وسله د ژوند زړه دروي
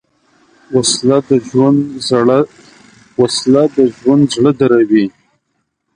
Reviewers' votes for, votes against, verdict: 1, 2, rejected